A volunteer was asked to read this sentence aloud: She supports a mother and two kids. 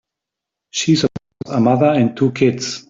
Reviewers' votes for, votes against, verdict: 3, 0, accepted